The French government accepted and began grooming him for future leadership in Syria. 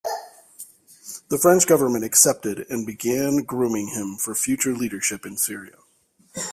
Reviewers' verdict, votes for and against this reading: accepted, 3, 0